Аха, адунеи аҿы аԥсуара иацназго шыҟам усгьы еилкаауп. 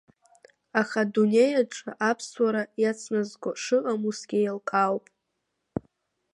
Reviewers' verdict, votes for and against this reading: accepted, 2, 0